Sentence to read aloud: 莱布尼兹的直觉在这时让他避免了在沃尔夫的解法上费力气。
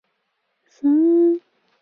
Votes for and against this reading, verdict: 0, 2, rejected